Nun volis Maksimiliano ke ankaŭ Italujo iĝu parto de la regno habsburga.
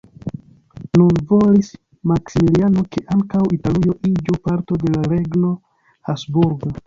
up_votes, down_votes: 0, 2